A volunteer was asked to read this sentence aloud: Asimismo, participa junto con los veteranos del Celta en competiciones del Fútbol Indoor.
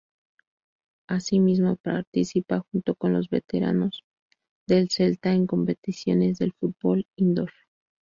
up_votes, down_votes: 0, 2